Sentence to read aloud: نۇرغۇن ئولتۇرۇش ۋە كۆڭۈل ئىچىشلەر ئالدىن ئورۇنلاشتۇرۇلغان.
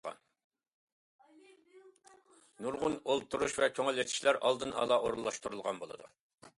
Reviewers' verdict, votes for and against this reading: rejected, 0, 2